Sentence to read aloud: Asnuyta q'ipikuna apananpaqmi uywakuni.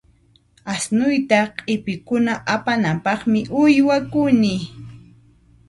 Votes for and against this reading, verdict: 2, 0, accepted